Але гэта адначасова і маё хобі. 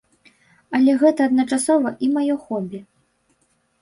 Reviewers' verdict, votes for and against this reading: accepted, 2, 0